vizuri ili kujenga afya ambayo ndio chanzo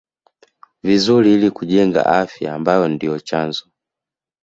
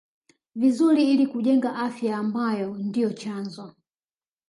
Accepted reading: first